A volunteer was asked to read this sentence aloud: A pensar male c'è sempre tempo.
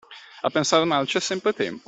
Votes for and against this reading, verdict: 2, 1, accepted